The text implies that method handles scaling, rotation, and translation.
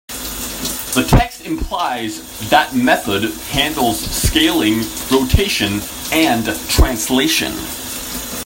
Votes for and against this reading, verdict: 1, 2, rejected